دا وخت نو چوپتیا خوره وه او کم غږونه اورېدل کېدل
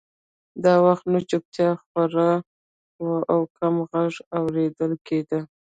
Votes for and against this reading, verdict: 1, 2, rejected